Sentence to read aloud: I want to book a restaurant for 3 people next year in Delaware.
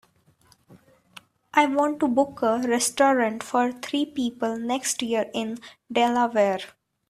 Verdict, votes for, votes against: rejected, 0, 2